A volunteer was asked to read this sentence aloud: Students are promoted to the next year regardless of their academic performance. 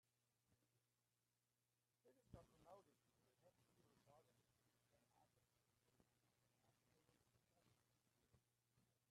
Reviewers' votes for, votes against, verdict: 0, 2, rejected